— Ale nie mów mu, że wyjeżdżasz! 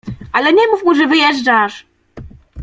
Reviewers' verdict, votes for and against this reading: accepted, 2, 0